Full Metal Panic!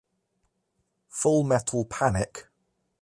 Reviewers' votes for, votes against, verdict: 0, 2, rejected